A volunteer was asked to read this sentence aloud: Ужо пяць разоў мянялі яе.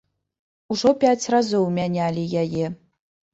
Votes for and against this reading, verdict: 3, 0, accepted